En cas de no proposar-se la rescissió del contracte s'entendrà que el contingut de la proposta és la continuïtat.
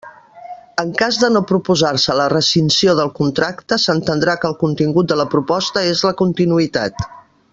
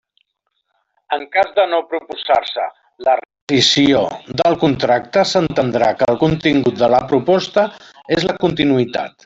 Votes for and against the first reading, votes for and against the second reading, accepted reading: 0, 2, 3, 0, second